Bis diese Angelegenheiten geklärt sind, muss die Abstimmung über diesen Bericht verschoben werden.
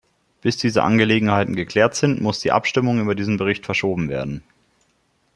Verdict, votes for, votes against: accepted, 2, 0